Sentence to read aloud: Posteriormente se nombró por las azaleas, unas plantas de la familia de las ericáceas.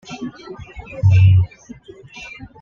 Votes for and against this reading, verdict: 1, 2, rejected